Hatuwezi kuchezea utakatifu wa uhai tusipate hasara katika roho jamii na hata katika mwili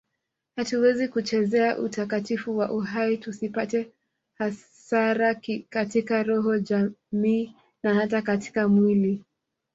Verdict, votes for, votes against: accepted, 2, 1